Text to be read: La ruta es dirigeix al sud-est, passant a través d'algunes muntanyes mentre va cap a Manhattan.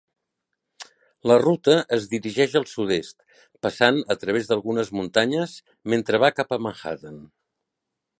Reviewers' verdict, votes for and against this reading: accepted, 4, 1